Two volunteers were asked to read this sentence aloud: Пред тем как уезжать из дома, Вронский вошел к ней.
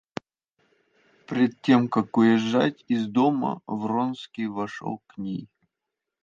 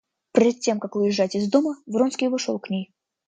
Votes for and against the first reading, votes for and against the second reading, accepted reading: 1, 2, 2, 0, second